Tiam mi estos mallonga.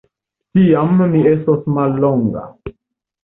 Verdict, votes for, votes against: accepted, 2, 0